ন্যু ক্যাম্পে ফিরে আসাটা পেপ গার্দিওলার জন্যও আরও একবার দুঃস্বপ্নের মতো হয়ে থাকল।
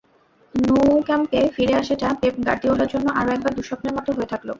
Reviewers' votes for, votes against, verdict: 0, 2, rejected